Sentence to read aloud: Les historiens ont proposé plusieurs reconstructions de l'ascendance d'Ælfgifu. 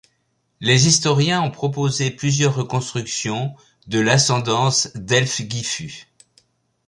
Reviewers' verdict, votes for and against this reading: accepted, 2, 0